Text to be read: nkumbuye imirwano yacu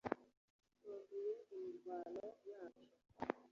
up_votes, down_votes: 1, 2